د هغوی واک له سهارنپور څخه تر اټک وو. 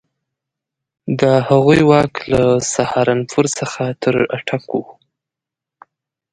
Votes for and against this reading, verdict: 2, 0, accepted